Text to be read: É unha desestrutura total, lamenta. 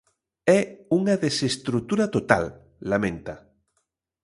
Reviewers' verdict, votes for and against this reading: accepted, 2, 0